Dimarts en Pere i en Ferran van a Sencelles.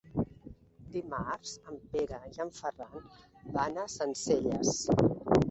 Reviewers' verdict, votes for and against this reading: rejected, 1, 2